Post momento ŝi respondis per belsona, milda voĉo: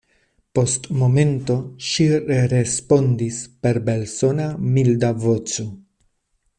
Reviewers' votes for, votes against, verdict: 1, 2, rejected